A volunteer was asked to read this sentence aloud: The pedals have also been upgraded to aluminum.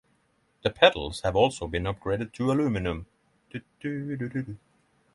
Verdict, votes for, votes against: rejected, 3, 3